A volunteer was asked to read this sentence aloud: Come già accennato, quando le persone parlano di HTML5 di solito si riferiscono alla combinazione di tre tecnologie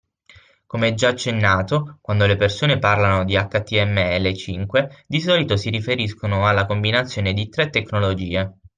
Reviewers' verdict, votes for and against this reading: rejected, 0, 2